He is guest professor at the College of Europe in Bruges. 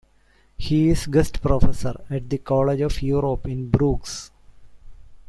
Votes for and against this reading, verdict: 2, 1, accepted